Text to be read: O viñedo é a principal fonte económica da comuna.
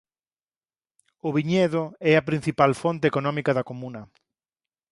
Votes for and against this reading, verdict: 4, 0, accepted